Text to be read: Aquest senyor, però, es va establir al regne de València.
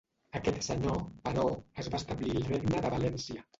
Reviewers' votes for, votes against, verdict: 0, 2, rejected